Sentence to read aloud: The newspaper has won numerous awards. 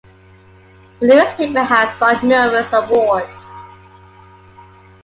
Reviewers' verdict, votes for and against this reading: accepted, 2, 0